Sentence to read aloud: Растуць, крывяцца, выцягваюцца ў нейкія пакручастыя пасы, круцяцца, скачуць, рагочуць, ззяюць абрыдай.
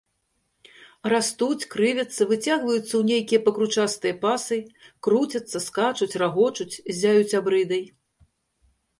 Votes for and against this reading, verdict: 2, 0, accepted